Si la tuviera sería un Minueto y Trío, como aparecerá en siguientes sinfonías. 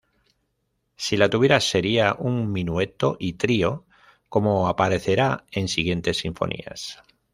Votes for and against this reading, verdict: 1, 2, rejected